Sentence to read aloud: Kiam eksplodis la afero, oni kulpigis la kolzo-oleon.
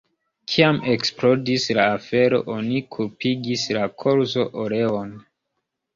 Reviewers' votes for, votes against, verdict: 1, 2, rejected